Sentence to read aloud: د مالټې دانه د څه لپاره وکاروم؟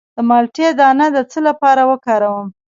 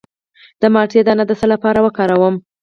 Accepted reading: second